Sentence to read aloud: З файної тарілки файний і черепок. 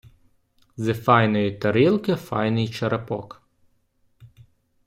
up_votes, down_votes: 1, 2